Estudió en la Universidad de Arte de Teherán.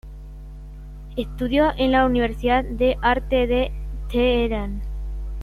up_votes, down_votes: 0, 2